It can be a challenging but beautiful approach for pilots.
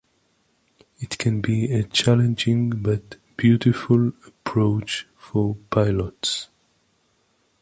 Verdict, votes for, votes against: accepted, 2, 0